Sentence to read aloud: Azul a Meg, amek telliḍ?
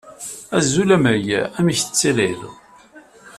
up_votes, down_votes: 0, 2